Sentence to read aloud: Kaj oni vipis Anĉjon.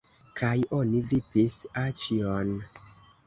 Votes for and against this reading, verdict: 1, 2, rejected